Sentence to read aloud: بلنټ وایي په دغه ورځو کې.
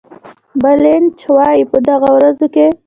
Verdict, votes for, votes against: accepted, 2, 1